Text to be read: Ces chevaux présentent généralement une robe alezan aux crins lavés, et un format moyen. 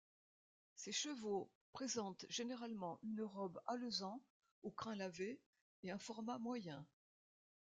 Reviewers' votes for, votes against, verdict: 1, 2, rejected